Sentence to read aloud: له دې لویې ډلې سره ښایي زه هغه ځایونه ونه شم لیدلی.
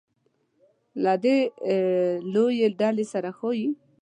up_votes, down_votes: 1, 2